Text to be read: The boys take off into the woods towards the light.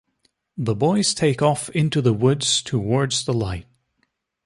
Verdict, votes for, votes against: accepted, 3, 0